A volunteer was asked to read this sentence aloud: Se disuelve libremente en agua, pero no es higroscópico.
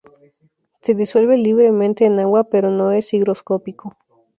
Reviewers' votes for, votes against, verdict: 0, 2, rejected